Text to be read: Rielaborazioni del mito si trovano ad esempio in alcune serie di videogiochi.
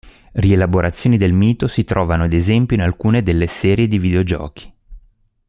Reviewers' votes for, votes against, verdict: 1, 2, rejected